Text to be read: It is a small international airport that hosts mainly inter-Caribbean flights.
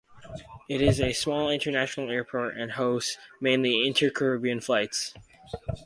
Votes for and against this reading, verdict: 2, 0, accepted